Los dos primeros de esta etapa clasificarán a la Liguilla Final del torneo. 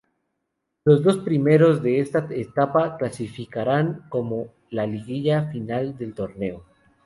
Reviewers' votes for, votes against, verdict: 0, 2, rejected